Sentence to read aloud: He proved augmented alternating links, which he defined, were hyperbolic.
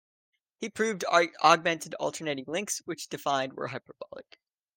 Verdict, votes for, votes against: rejected, 1, 2